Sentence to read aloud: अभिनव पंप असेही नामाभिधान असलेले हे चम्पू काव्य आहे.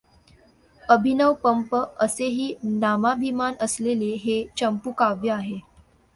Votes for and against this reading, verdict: 0, 2, rejected